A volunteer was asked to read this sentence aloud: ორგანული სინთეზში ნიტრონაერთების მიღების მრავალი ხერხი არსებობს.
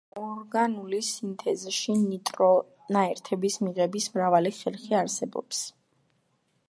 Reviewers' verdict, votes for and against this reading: rejected, 1, 2